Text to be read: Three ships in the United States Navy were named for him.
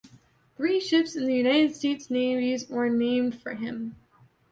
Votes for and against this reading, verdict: 1, 2, rejected